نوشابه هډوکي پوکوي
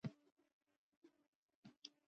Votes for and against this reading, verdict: 0, 2, rejected